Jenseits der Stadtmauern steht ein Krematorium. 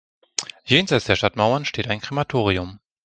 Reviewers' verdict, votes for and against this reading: accepted, 2, 0